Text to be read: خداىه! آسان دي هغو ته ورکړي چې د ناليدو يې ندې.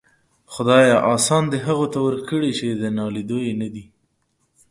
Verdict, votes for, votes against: accepted, 2, 0